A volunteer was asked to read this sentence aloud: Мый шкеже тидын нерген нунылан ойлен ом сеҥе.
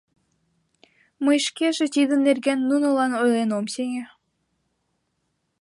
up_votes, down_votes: 2, 0